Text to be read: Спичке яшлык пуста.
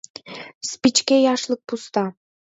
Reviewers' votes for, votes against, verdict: 2, 0, accepted